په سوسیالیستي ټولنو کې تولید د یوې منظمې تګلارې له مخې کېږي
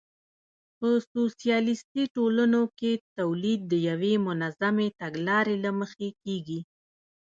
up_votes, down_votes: 1, 2